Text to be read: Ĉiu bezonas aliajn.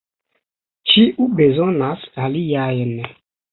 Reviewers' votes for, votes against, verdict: 1, 2, rejected